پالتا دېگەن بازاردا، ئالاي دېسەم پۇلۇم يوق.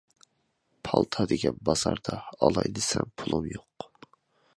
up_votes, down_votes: 2, 0